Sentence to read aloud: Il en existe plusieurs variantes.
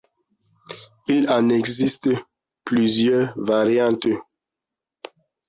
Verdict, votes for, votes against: accepted, 2, 0